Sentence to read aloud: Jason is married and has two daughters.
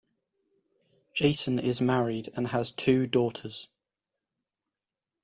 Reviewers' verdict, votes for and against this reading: accepted, 2, 0